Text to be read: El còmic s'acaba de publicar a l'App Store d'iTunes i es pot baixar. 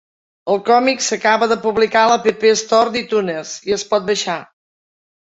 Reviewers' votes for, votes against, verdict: 4, 0, accepted